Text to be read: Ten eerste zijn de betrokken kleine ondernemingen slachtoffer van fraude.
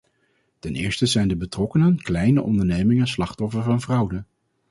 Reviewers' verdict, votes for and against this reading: rejected, 0, 2